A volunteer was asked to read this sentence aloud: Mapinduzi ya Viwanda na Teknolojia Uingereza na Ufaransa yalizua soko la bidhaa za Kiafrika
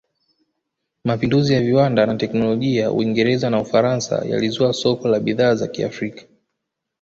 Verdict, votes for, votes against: accepted, 2, 0